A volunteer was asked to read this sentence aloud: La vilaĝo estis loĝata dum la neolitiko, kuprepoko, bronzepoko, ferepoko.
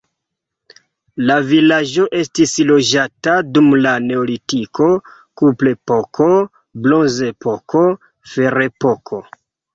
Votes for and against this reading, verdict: 1, 2, rejected